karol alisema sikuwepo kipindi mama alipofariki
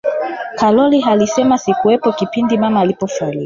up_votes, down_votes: 2, 1